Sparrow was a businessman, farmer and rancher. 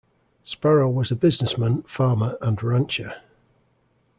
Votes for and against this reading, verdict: 2, 0, accepted